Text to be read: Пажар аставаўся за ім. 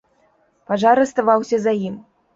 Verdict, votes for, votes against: accepted, 2, 0